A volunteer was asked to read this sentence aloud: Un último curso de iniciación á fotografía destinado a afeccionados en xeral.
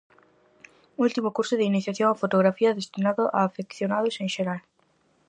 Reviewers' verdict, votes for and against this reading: rejected, 2, 2